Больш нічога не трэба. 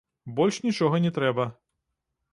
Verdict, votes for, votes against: accepted, 2, 1